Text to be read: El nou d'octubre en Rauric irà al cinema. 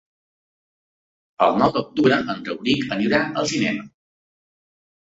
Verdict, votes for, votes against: rejected, 0, 2